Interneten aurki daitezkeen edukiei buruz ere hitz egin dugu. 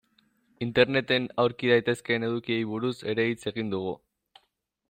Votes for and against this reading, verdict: 2, 0, accepted